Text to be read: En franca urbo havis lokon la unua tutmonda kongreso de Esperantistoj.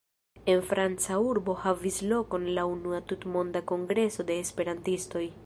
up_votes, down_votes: 2, 0